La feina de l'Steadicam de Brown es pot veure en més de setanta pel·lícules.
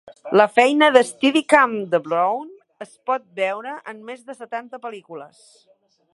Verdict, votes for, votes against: rejected, 1, 2